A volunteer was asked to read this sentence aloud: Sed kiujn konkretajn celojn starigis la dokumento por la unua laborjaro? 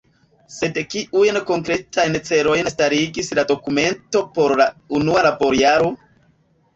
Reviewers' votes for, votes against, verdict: 1, 2, rejected